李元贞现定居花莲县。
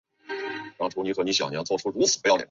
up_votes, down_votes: 0, 2